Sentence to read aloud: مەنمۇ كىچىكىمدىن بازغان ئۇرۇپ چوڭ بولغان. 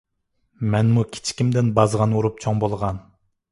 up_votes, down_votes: 2, 0